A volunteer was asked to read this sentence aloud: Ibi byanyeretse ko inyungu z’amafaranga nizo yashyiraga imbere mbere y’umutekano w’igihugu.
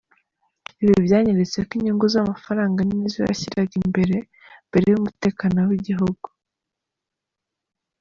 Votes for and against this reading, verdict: 3, 0, accepted